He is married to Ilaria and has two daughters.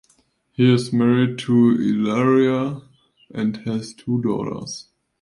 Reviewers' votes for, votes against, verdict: 2, 0, accepted